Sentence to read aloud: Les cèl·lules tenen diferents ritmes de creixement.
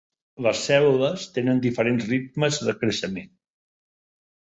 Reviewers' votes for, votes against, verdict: 4, 0, accepted